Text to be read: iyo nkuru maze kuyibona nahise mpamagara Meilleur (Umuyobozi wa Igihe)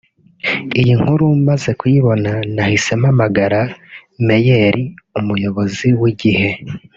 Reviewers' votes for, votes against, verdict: 1, 2, rejected